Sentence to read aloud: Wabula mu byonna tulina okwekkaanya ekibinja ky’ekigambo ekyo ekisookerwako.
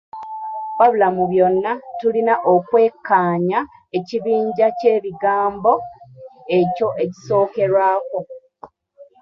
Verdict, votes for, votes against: rejected, 1, 2